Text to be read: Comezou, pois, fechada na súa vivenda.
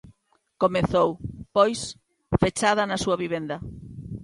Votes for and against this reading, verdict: 2, 0, accepted